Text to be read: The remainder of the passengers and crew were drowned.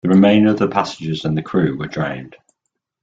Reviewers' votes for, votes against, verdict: 0, 2, rejected